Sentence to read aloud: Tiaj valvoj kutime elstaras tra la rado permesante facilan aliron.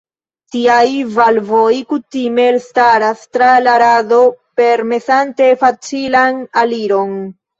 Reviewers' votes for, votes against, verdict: 1, 2, rejected